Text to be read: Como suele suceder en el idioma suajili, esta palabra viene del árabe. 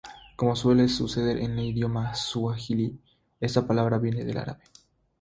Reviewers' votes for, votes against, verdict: 0, 3, rejected